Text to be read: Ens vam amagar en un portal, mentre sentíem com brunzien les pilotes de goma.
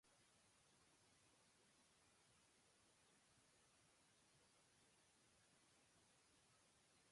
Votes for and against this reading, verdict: 1, 2, rejected